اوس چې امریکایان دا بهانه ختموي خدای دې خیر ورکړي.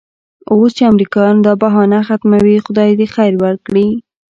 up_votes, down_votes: 2, 0